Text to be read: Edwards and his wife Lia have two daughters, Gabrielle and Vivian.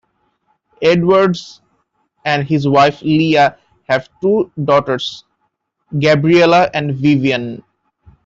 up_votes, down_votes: 0, 2